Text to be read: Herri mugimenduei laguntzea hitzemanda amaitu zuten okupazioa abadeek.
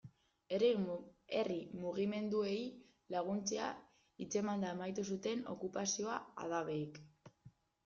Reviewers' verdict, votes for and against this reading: rejected, 0, 2